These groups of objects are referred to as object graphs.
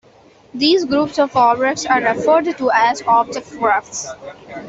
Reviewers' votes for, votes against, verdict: 1, 2, rejected